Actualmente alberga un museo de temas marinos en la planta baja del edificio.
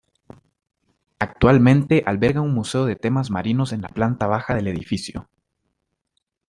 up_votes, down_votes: 2, 0